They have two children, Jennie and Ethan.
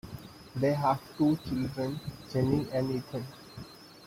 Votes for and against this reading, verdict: 2, 0, accepted